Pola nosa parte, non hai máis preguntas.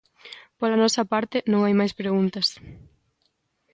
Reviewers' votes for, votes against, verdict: 2, 0, accepted